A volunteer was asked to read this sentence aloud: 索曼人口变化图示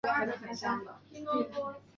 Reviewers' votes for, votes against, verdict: 0, 2, rejected